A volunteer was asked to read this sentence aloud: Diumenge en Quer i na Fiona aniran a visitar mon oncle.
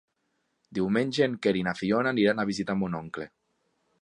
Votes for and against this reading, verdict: 3, 0, accepted